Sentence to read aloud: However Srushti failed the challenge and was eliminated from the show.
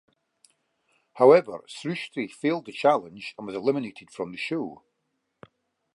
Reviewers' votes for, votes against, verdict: 3, 0, accepted